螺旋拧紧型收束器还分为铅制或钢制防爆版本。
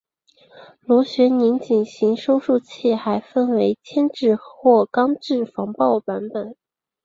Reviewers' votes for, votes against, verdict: 7, 1, accepted